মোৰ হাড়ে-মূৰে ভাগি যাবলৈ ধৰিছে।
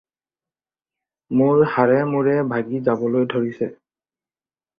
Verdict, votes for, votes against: accepted, 4, 0